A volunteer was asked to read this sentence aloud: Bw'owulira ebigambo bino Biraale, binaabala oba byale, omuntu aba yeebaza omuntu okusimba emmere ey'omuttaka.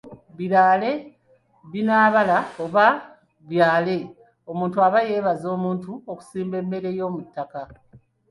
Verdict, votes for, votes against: rejected, 0, 2